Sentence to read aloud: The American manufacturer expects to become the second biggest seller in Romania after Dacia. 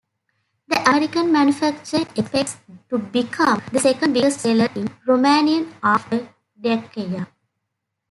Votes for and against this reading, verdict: 0, 2, rejected